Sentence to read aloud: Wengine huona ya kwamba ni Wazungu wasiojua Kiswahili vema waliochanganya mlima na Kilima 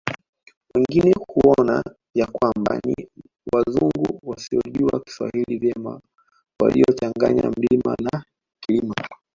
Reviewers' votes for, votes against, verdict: 1, 2, rejected